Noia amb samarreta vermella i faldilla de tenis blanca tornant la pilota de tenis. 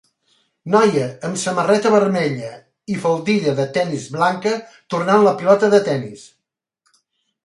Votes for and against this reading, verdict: 4, 1, accepted